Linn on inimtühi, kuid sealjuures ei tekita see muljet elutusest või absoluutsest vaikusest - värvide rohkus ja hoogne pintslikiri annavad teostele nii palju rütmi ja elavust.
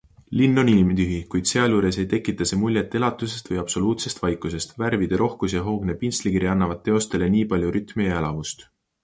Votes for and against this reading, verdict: 2, 0, accepted